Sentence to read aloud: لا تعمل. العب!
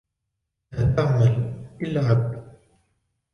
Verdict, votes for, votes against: rejected, 1, 2